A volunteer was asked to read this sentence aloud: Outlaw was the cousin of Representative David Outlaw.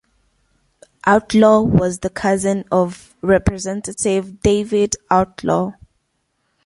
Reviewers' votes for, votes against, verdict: 2, 0, accepted